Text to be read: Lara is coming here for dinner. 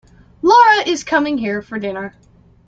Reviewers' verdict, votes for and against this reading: accepted, 2, 0